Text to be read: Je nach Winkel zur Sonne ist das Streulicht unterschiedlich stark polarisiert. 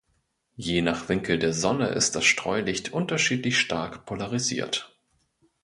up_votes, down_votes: 1, 2